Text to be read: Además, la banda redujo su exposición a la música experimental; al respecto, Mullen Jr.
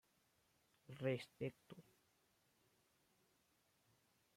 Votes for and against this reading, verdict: 0, 2, rejected